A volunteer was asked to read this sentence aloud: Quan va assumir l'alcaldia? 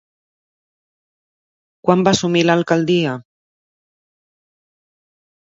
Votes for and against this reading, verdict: 2, 0, accepted